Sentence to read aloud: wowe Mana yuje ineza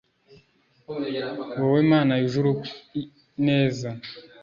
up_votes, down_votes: 0, 2